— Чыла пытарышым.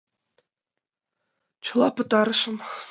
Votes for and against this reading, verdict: 2, 0, accepted